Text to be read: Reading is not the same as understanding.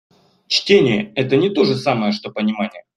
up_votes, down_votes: 0, 2